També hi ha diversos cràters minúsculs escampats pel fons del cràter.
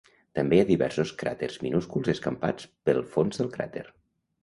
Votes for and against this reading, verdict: 1, 2, rejected